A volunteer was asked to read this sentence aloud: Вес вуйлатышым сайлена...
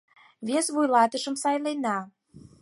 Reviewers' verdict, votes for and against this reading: accepted, 4, 0